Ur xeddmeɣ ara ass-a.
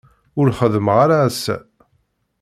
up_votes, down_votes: 0, 2